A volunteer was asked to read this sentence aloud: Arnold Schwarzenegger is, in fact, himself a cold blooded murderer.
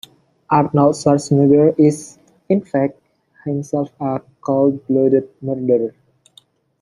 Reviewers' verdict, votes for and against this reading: accepted, 2, 0